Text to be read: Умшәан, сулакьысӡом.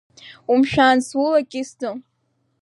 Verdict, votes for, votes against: accepted, 2, 0